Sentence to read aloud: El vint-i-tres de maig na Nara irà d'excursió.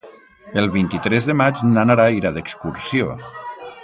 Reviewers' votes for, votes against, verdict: 1, 2, rejected